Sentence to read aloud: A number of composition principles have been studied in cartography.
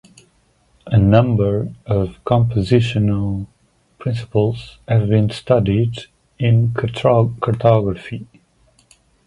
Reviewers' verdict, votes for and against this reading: rejected, 0, 2